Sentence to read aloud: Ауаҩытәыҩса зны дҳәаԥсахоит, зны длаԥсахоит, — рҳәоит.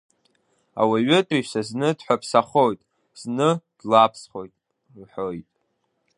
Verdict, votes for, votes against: rejected, 1, 2